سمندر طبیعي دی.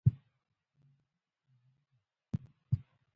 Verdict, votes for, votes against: accepted, 2, 0